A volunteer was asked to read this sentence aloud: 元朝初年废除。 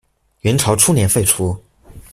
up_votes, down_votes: 2, 0